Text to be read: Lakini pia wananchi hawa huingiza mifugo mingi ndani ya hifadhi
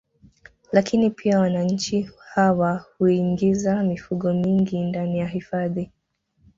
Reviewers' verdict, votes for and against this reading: accepted, 2, 0